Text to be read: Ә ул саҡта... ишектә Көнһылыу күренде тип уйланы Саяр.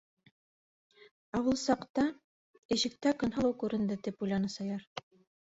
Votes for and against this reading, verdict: 0, 2, rejected